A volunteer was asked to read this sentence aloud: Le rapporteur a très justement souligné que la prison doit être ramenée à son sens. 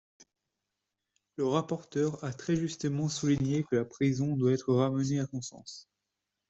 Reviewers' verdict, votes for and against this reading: rejected, 0, 2